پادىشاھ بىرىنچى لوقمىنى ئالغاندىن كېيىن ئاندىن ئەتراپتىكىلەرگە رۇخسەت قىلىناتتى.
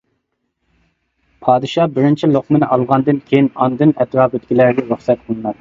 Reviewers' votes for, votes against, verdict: 1, 2, rejected